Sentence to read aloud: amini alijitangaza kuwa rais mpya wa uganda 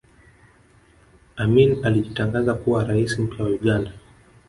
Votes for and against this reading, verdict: 1, 2, rejected